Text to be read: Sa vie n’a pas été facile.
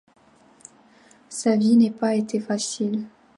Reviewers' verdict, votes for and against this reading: accepted, 2, 1